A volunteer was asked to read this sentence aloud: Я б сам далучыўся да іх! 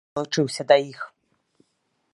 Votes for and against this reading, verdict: 1, 3, rejected